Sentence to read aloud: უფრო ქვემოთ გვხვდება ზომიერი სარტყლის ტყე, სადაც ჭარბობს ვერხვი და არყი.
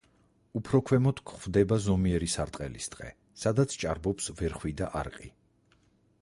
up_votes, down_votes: 2, 4